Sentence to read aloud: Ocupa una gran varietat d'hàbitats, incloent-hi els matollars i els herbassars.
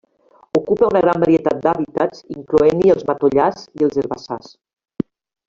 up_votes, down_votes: 0, 2